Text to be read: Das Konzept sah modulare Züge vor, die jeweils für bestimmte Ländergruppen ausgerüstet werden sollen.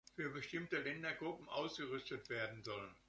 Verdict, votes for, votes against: rejected, 0, 2